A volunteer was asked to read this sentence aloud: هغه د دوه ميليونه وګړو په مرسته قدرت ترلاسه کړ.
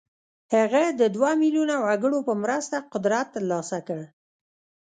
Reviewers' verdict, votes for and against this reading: rejected, 1, 2